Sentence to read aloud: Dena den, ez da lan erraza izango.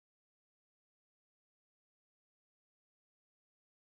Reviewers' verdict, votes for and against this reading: rejected, 0, 2